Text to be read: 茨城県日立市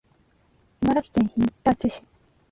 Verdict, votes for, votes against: rejected, 0, 2